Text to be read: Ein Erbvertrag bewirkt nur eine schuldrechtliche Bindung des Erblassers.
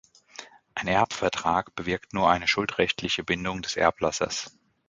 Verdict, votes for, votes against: accepted, 2, 0